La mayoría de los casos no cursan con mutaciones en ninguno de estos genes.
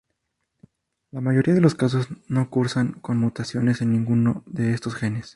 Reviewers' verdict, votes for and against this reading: rejected, 0, 2